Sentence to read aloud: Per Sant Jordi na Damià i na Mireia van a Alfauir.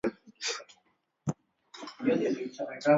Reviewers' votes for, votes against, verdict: 0, 2, rejected